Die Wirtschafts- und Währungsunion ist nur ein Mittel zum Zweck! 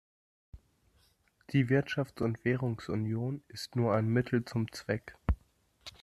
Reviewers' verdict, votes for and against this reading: accepted, 2, 0